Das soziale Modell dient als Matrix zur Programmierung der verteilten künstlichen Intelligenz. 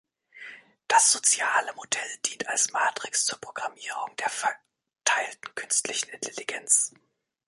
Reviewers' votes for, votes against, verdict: 1, 2, rejected